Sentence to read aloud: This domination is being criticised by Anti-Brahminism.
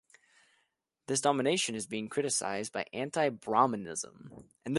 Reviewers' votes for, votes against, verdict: 2, 0, accepted